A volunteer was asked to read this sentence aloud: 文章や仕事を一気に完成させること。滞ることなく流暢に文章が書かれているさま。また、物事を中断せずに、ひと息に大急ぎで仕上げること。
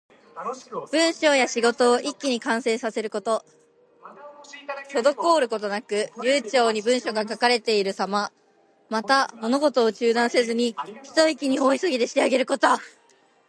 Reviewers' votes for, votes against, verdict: 1, 2, rejected